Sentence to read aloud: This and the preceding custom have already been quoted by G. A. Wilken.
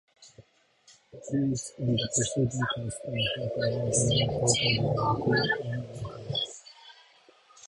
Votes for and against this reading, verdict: 0, 2, rejected